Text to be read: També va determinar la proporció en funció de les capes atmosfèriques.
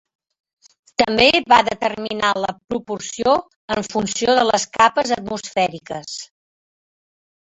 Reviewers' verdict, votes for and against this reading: rejected, 0, 2